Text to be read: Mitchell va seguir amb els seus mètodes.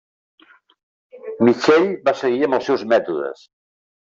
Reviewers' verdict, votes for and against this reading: rejected, 1, 2